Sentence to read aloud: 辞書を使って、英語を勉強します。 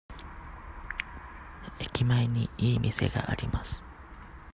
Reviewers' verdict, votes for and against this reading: rejected, 0, 2